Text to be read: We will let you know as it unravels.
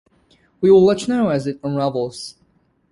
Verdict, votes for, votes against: accepted, 2, 0